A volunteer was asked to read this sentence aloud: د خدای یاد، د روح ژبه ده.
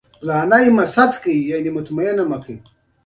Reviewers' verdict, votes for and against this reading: rejected, 1, 2